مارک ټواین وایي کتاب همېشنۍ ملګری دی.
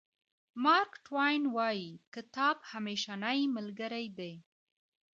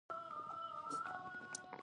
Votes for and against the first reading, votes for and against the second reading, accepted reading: 2, 0, 0, 2, first